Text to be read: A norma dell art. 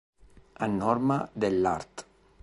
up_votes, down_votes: 2, 0